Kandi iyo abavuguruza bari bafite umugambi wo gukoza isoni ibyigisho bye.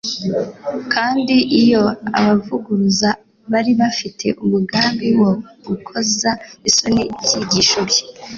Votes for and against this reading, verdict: 3, 0, accepted